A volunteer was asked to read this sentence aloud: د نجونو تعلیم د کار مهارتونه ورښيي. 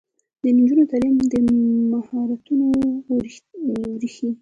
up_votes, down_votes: 1, 2